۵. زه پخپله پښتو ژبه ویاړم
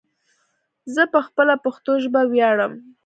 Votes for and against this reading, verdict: 0, 2, rejected